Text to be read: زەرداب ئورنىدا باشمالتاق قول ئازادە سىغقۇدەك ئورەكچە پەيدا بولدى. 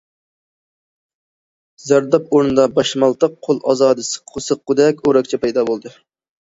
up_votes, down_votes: 0, 2